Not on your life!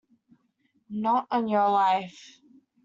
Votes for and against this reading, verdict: 2, 0, accepted